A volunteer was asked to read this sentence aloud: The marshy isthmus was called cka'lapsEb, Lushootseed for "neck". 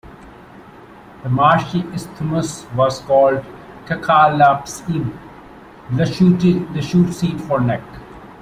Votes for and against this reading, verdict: 0, 2, rejected